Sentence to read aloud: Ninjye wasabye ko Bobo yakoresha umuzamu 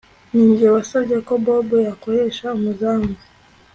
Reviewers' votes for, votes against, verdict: 2, 0, accepted